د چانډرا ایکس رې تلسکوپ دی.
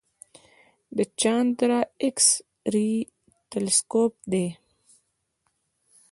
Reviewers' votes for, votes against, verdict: 2, 0, accepted